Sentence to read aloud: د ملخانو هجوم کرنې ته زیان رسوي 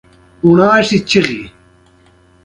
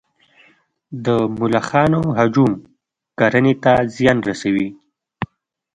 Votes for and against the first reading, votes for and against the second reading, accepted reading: 2, 0, 1, 2, first